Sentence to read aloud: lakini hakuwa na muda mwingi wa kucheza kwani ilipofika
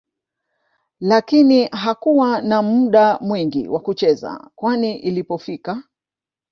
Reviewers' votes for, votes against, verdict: 0, 2, rejected